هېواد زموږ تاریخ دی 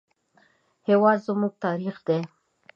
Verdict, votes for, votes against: accepted, 2, 0